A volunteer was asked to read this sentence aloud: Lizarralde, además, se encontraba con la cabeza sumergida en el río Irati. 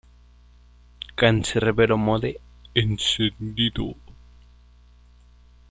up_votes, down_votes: 0, 2